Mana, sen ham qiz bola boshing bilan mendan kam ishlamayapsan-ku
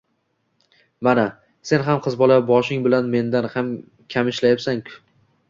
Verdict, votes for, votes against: accepted, 2, 1